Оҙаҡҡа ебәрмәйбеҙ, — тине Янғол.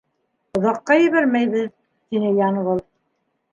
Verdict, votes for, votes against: rejected, 0, 2